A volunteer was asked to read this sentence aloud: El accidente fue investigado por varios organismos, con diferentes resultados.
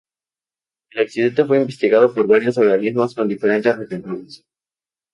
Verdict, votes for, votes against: rejected, 0, 2